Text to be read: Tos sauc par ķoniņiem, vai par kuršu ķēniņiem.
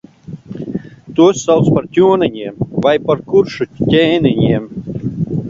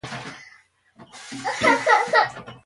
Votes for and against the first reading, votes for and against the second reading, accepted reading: 2, 1, 0, 2, first